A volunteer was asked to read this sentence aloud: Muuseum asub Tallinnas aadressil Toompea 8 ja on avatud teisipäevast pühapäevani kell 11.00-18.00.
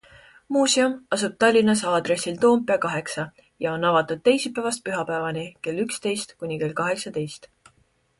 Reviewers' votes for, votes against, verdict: 0, 2, rejected